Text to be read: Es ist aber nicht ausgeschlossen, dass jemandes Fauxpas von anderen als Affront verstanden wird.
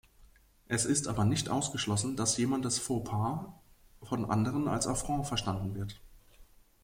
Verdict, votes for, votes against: accepted, 3, 0